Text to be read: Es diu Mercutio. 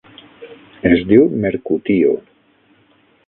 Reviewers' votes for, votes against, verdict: 3, 6, rejected